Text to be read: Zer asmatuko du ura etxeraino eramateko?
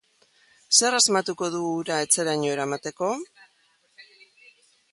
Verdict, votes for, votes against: accepted, 2, 1